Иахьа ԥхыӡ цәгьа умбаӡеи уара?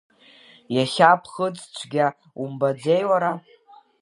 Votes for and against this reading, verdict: 2, 1, accepted